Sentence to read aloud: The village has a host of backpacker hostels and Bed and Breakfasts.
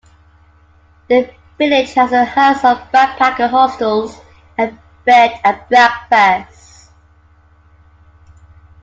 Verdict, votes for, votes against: accepted, 2, 1